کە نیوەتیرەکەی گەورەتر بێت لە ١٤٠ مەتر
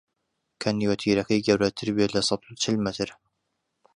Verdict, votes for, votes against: rejected, 0, 2